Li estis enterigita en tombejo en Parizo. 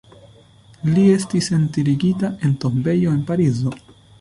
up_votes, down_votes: 2, 0